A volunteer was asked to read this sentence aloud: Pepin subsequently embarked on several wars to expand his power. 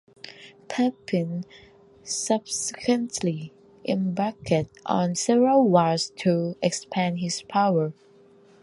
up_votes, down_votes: 1, 2